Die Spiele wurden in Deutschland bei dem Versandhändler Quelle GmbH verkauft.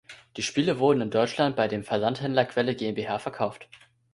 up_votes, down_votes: 2, 0